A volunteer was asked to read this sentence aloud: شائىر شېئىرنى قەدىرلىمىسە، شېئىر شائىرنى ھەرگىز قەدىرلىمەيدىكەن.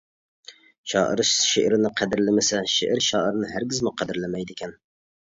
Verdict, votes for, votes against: rejected, 0, 2